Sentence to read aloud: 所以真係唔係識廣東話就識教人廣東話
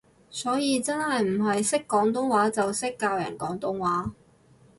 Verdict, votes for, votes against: accepted, 2, 0